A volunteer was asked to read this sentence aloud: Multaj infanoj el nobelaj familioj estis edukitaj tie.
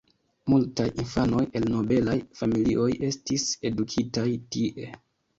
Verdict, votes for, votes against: accepted, 2, 1